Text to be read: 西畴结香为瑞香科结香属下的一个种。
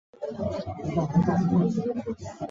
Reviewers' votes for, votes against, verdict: 0, 3, rejected